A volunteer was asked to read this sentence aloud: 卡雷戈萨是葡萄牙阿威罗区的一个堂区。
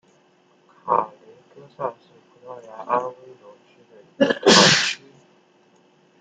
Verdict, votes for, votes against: rejected, 0, 2